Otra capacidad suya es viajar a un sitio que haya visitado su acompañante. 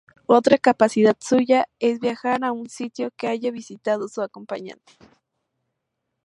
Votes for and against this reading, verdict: 2, 0, accepted